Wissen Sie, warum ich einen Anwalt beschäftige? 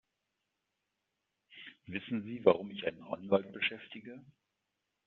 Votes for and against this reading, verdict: 2, 0, accepted